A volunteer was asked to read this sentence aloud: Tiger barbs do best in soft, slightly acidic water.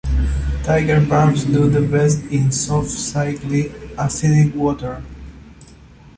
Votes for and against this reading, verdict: 0, 2, rejected